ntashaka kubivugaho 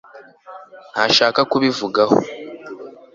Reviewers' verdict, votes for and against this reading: accepted, 2, 0